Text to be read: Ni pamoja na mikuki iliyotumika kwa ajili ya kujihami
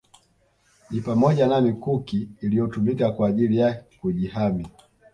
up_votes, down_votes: 2, 0